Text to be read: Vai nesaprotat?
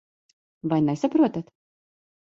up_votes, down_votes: 2, 0